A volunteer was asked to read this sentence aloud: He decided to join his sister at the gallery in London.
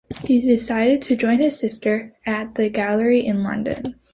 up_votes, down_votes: 2, 0